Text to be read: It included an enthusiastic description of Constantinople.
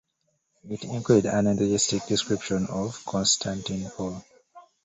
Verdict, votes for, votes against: rejected, 1, 2